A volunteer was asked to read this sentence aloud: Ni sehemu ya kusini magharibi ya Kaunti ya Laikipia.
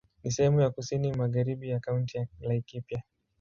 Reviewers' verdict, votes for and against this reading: accepted, 5, 0